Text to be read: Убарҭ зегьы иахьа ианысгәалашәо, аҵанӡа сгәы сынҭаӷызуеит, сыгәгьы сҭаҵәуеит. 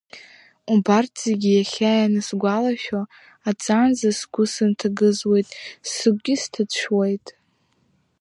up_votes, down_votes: 1, 2